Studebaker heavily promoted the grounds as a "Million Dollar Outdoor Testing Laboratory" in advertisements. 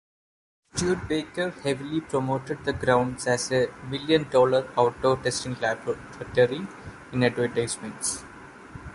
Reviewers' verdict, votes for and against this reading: rejected, 1, 2